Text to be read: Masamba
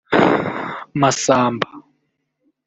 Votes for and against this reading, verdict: 1, 2, rejected